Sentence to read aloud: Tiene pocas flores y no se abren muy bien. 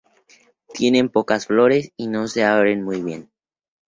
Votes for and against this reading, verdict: 0, 2, rejected